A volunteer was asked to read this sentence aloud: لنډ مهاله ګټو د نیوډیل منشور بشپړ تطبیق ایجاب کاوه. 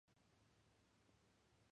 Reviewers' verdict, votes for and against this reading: rejected, 0, 2